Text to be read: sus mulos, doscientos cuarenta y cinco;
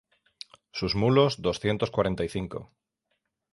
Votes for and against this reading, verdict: 3, 0, accepted